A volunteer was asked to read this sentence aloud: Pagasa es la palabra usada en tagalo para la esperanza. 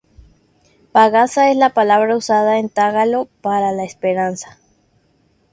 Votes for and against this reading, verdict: 2, 0, accepted